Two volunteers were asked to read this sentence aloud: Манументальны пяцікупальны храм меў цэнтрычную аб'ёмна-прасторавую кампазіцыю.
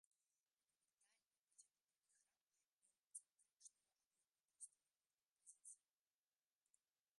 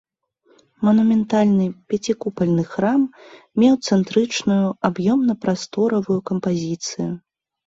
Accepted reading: second